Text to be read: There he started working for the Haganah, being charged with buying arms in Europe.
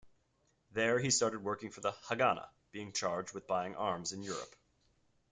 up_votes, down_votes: 2, 0